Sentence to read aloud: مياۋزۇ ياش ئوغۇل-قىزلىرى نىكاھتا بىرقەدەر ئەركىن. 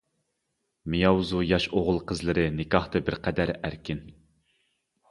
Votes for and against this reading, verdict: 2, 0, accepted